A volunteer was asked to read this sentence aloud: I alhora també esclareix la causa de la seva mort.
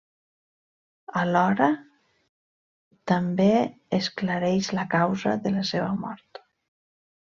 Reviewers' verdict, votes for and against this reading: rejected, 0, 2